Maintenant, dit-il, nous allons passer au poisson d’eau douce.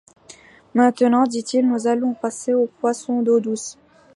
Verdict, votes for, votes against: accepted, 2, 0